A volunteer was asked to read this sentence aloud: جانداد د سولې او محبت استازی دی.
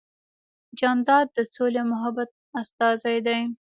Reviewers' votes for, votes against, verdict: 2, 0, accepted